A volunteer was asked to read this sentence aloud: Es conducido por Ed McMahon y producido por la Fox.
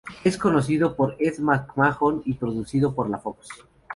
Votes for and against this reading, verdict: 0, 2, rejected